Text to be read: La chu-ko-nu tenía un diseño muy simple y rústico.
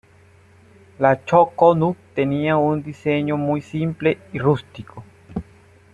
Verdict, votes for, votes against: accepted, 2, 0